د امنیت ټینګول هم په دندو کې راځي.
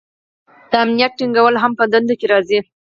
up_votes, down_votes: 4, 0